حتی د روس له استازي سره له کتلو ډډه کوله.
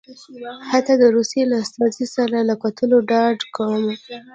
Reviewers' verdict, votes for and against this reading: accepted, 2, 1